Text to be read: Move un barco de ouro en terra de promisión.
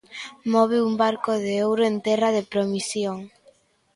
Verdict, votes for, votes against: rejected, 0, 2